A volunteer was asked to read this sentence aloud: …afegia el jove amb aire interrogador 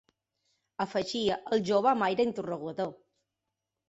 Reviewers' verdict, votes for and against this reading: rejected, 0, 2